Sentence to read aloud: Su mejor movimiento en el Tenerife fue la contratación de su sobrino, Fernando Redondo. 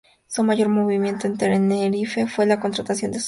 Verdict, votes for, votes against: rejected, 0, 2